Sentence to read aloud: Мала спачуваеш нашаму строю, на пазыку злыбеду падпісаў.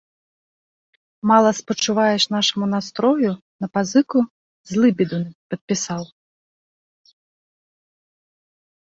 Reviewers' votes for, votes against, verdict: 1, 2, rejected